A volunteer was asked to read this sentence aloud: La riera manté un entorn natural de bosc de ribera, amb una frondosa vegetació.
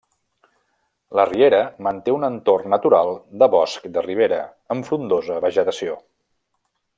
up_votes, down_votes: 0, 2